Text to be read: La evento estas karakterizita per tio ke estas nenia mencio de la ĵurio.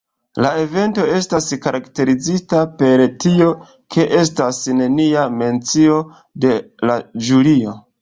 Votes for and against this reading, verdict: 1, 2, rejected